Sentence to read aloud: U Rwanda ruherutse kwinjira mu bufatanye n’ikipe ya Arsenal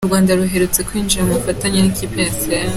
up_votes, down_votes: 2, 0